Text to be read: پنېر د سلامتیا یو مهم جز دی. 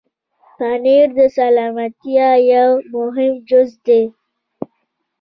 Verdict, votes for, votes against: rejected, 0, 2